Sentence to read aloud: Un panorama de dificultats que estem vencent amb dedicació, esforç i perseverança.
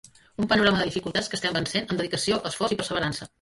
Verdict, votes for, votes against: accepted, 2, 1